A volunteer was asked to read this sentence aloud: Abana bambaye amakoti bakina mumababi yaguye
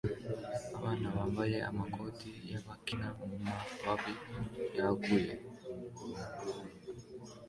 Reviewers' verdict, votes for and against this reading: accepted, 3, 1